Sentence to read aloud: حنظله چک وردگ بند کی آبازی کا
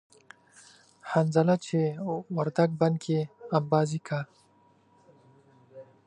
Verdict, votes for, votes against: rejected, 0, 2